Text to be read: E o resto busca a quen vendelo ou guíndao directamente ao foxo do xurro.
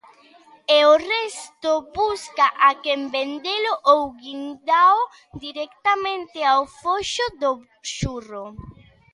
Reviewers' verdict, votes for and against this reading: rejected, 1, 2